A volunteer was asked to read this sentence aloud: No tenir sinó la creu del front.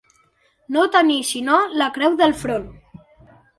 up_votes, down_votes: 2, 0